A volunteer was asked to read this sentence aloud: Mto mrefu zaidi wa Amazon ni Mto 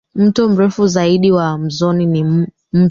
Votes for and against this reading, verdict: 0, 3, rejected